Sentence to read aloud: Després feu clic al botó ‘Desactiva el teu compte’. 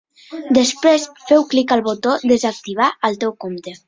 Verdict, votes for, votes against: rejected, 1, 2